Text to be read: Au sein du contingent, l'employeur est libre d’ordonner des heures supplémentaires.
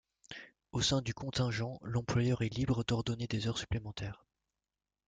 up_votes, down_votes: 2, 0